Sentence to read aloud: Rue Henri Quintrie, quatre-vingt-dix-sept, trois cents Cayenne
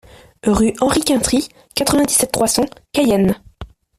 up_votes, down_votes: 2, 1